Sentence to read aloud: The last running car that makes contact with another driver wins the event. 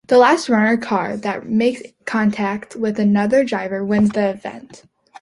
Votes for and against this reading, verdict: 0, 2, rejected